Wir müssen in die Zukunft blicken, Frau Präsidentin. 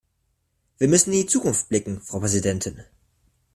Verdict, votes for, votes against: accepted, 2, 0